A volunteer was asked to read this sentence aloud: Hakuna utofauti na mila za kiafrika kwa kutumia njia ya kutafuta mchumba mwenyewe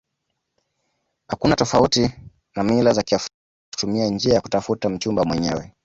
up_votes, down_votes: 1, 2